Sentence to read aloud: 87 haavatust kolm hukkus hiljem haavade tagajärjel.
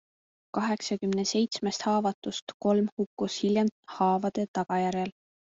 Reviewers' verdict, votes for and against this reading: rejected, 0, 2